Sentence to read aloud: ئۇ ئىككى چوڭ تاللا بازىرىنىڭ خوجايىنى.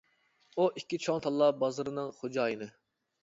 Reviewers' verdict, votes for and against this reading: accepted, 2, 0